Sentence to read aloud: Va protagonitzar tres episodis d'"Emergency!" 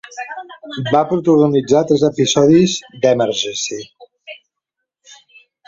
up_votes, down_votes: 2, 1